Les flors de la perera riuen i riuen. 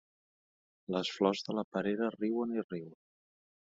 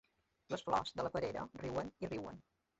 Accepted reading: first